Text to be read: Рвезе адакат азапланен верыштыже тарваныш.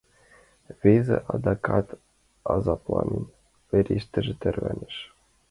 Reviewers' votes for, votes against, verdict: 1, 2, rejected